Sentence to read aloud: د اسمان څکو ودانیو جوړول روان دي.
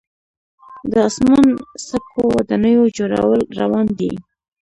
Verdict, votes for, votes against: accepted, 2, 0